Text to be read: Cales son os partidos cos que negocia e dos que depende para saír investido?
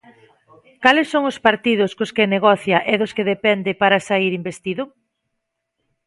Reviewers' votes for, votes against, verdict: 2, 0, accepted